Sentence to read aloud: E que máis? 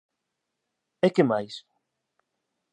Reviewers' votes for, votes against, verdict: 2, 0, accepted